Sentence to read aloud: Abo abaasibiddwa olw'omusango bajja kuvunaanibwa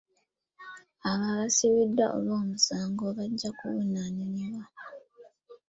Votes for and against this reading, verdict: 1, 2, rejected